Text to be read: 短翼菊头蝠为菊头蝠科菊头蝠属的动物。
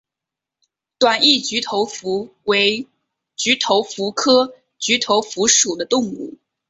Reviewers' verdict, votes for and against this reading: accepted, 6, 0